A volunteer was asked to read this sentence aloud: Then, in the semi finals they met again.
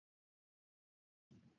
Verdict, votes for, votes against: rejected, 0, 2